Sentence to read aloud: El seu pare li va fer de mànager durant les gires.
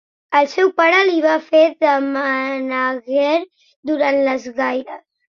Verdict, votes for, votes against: rejected, 0, 2